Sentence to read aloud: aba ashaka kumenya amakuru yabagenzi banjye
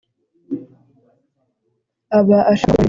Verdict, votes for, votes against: rejected, 0, 2